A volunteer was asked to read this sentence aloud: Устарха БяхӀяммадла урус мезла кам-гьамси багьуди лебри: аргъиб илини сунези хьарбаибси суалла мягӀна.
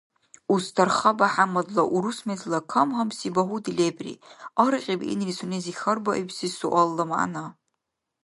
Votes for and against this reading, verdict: 2, 0, accepted